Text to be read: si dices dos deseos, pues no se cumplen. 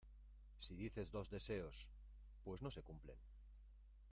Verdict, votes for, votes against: rejected, 1, 2